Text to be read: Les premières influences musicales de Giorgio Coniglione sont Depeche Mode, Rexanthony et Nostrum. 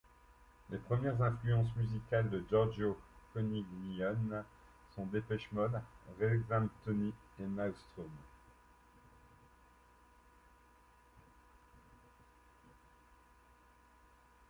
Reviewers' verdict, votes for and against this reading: accepted, 2, 1